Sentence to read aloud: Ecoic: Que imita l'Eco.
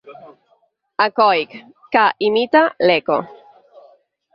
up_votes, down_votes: 8, 0